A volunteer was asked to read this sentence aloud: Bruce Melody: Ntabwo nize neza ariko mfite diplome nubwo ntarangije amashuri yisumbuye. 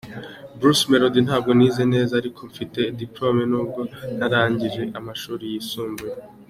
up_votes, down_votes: 2, 0